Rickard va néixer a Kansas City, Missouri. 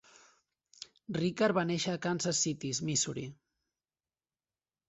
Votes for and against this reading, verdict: 2, 0, accepted